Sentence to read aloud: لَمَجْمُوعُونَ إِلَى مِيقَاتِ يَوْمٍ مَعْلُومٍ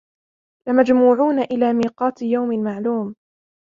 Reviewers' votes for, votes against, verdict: 1, 2, rejected